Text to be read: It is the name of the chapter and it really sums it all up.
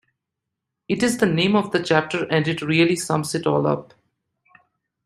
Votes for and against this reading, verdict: 2, 0, accepted